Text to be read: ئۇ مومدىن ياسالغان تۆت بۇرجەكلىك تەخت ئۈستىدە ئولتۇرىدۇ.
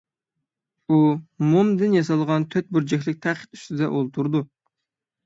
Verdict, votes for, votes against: accepted, 6, 0